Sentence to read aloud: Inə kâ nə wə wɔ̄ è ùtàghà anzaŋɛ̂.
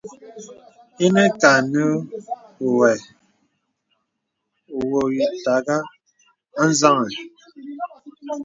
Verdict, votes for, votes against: rejected, 0, 2